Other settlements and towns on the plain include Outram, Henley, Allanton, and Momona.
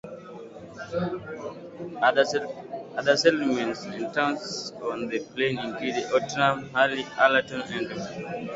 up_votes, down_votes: 0, 2